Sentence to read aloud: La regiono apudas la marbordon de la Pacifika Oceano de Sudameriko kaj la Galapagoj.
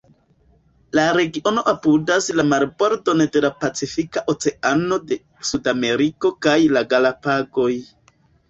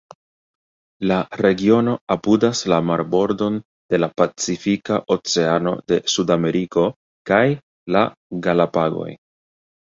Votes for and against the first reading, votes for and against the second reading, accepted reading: 2, 0, 1, 2, first